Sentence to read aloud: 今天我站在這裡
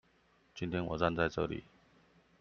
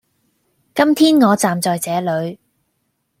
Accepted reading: first